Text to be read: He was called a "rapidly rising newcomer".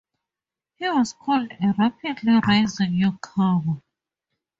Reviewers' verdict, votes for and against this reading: accepted, 2, 0